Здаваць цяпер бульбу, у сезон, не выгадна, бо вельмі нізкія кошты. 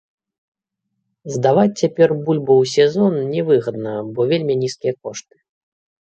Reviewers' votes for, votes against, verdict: 2, 0, accepted